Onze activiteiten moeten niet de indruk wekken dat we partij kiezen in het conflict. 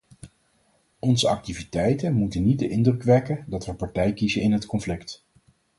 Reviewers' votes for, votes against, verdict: 4, 0, accepted